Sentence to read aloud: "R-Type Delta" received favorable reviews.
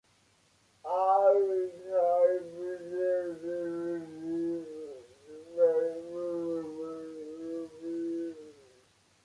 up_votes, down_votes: 0, 3